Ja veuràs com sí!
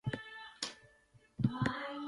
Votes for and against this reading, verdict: 0, 2, rejected